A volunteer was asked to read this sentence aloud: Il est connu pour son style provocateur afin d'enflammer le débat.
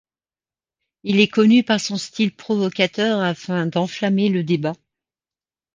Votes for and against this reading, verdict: 1, 2, rejected